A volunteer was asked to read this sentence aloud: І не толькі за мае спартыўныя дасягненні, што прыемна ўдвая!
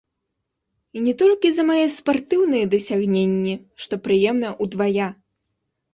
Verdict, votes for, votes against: accepted, 2, 0